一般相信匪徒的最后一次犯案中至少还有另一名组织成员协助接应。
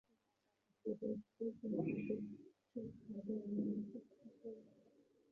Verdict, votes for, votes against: rejected, 1, 4